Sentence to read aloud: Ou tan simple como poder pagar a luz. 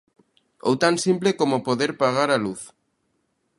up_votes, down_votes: 2, 0